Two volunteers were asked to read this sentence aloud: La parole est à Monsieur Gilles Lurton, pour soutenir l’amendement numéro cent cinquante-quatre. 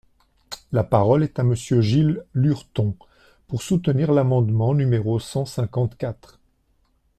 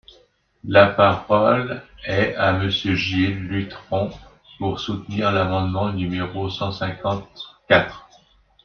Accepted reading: first